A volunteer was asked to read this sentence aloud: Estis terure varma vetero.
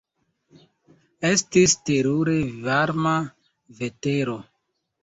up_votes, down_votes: 2, 0